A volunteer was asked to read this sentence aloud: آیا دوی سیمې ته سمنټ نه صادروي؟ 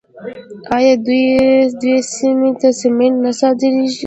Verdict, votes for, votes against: accepted, 2, 0